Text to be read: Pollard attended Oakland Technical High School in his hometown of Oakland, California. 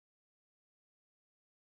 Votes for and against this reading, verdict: 0, 2, rejected